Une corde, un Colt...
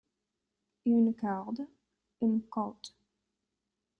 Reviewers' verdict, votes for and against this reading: rejected, 0, 2